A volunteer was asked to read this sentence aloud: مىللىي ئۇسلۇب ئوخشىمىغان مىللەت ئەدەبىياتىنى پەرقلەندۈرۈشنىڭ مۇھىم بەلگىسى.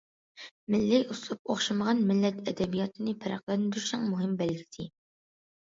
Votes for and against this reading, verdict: 2, 0, accepted